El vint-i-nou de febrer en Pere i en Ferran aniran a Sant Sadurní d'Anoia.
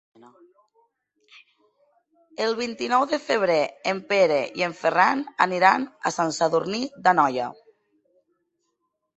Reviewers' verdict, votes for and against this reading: accepted, 3, 0